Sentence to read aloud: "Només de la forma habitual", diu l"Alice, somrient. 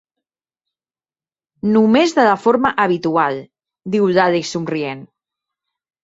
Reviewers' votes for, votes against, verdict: 3, 0, accepted